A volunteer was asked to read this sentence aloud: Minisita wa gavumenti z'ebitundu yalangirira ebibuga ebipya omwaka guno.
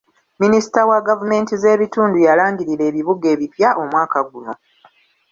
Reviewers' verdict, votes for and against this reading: accepted, 2, 0